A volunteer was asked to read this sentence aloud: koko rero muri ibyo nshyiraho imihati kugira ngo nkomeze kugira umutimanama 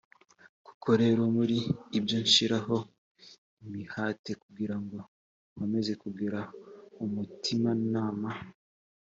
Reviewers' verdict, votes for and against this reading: accepted, 2, 0